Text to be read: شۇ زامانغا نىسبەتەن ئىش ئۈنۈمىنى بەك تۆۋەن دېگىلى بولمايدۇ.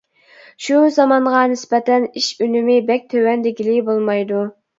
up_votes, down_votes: 0, 2